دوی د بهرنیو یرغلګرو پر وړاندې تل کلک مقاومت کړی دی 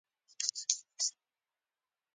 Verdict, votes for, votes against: rejected, 0, 2